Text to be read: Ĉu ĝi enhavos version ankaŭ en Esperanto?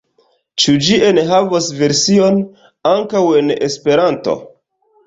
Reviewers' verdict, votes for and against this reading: accepted, 2, 0